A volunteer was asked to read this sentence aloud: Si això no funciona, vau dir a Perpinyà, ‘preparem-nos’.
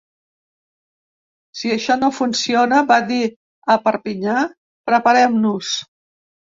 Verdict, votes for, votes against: rejected, 0, 2